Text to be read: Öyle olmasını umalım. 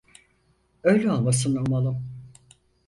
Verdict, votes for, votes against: accepted, 4, 0